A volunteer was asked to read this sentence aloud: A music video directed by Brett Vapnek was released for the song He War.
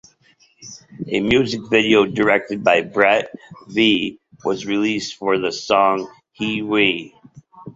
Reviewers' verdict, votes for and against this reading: rejected, 0, 2